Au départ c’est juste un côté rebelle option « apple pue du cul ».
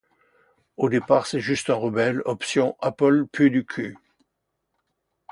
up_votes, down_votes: 2, 0